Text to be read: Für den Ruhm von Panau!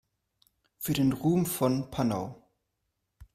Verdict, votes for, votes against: accepted, 2, 0